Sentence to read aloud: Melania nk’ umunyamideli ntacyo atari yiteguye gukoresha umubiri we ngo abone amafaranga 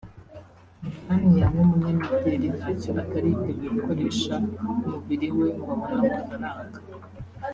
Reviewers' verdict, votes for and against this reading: rejected, 1, 2